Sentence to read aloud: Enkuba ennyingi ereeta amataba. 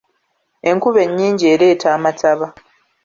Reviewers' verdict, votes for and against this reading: accepted, 2, 0